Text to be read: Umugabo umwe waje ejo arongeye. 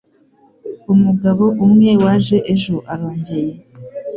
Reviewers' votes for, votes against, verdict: 2, 0, accepted